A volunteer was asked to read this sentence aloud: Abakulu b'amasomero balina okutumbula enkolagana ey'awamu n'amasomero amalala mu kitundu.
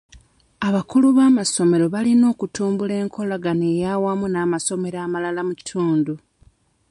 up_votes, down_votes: 2, 1